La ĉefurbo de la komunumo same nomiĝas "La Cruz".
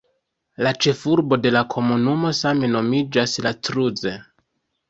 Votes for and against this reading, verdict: 0, 2, rejected